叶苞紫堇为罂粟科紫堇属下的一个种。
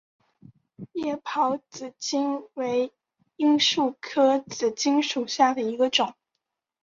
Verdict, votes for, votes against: accepted, 2, 0